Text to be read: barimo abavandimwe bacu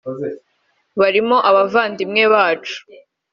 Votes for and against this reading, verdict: 2, 1, accepted